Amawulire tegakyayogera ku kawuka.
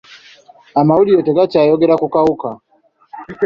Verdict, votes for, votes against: accepted, 2, 0